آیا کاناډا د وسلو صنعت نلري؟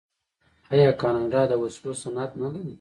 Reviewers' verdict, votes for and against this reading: accepted, 2, 0